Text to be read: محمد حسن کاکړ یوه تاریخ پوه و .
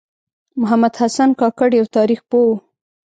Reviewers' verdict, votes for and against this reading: rejected, 1, 2